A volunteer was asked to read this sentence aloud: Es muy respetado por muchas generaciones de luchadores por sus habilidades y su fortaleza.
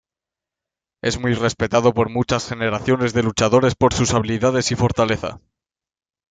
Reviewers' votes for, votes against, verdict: 0, 2, rejected